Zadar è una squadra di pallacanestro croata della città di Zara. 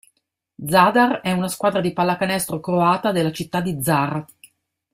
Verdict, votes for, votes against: accepted, 2, 0